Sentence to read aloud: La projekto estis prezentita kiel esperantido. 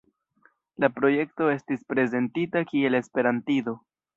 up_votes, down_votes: 2, 0